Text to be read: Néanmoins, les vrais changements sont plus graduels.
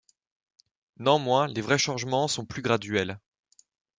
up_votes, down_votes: 1, 2